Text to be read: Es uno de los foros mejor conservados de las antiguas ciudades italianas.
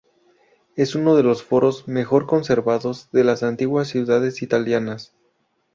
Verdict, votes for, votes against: accepted, 4, 0